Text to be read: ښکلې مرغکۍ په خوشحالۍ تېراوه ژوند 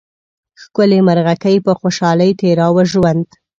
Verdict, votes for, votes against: accepted, 2, 0